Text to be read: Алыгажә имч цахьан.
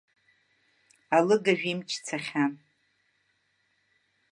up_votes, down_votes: 0, 2